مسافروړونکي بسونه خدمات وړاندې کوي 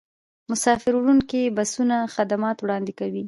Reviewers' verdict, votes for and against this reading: accepted, 2, 1